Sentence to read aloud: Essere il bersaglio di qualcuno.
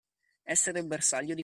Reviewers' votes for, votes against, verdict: 0, 2, rejected